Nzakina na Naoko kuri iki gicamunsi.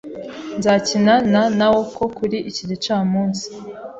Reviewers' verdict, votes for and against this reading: accepted, 2, 0